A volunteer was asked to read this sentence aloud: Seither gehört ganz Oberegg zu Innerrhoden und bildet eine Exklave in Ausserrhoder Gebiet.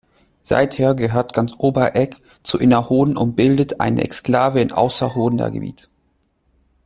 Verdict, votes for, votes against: accepted, 2, 0